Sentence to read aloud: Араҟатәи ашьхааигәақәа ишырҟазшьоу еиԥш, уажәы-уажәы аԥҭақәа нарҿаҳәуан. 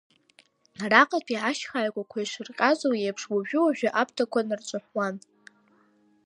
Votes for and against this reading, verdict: 2, 0, accepted